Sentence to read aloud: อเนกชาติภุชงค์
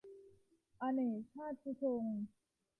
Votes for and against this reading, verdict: 1, 2, rejected